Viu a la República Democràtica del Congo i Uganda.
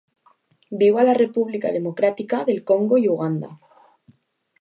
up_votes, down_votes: 2, 0